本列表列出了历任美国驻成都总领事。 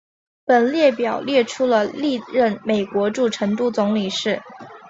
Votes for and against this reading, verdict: 2, 0, accepted